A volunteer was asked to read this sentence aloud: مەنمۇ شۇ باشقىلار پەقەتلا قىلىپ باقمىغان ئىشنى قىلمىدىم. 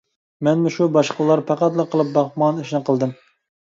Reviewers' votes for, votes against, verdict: 2, 1, accepted